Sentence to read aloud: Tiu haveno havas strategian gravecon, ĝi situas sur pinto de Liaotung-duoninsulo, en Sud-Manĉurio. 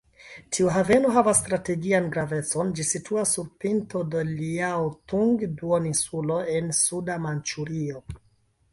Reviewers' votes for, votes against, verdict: 1, 2, rejected